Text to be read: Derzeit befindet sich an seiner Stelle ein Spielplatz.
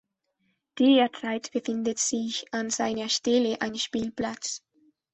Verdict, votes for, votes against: accepted, 2, 0